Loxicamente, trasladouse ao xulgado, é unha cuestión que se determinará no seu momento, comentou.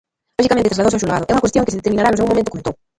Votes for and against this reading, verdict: 0, 2, rejected